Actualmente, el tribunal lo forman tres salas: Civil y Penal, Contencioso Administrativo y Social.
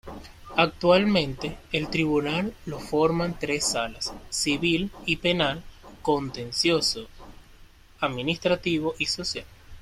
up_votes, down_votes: 2, 1